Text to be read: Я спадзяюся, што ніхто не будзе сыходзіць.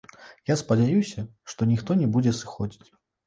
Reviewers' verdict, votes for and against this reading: rejected, 0, 2